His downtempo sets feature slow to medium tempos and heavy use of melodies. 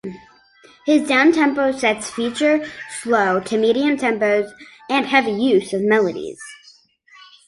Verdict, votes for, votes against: accepted, 2, 1